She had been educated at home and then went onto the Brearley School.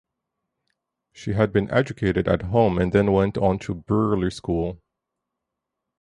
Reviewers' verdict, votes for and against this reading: rejected, 2, 2